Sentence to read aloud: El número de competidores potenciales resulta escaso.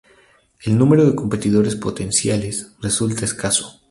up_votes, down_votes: 0, 2